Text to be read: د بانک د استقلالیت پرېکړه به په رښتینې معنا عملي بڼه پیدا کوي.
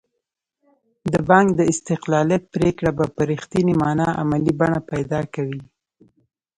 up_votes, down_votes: 0, 2